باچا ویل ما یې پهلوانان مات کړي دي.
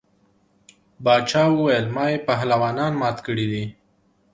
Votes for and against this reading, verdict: 2, 0, accepted